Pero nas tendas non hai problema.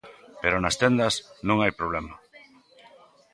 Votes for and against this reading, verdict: 2, 0, accepted